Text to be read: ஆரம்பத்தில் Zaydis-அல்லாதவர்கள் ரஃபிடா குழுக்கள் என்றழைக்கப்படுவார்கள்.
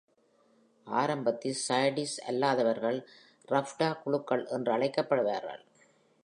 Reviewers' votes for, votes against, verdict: 2, 0, accepted